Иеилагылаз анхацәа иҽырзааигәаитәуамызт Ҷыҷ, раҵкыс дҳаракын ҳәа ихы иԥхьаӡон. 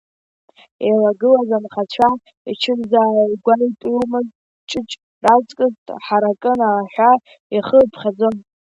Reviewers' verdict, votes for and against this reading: rejected, 1, 2